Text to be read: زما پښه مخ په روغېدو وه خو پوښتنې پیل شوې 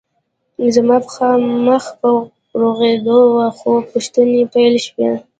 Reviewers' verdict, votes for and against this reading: rejected, 1, 2